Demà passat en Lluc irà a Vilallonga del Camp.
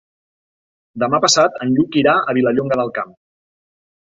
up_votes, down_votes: 2, 0